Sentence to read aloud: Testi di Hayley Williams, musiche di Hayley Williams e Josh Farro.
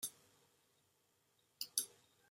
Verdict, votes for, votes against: rejected, 0, 2